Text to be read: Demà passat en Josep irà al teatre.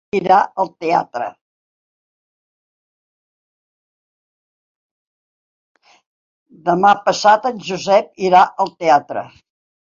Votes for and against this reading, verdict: 0, 4, rejected